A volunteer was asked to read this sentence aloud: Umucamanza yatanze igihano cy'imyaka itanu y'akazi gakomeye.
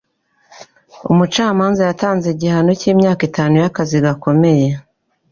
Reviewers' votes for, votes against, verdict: 2, 0, accepted